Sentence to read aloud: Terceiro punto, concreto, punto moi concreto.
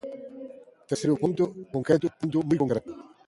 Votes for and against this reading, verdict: 1, 2, rejected